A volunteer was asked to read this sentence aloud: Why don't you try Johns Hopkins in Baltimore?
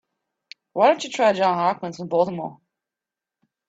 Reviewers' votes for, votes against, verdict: 2, 1, accepted